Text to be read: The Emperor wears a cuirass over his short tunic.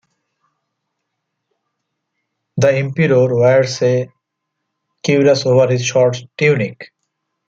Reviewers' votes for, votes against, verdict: 0, 2, rejected